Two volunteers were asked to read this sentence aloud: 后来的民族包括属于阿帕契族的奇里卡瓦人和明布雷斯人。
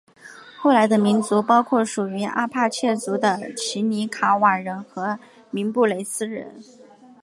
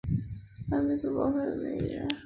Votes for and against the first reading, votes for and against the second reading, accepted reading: 6, 1, 0, 2, first